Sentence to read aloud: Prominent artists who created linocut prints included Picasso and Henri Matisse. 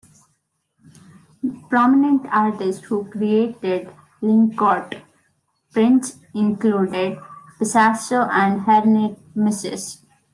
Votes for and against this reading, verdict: 0, 2, rejected